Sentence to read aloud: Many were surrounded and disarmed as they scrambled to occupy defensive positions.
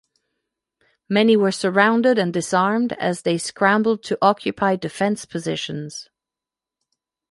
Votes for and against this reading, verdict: 0, 2, rejected